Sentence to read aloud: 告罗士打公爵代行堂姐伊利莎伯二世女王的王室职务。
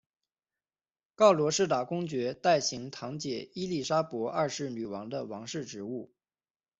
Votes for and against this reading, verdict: 2, 0, accepted